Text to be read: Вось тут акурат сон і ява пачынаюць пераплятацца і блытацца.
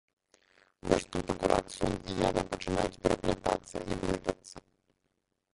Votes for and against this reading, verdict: 0, 2, rejected